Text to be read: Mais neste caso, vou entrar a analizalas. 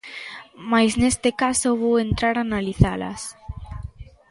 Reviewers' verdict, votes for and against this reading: accepted, 2, 0